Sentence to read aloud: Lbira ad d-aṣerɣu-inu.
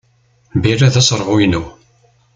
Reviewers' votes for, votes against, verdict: 1, 2, rejected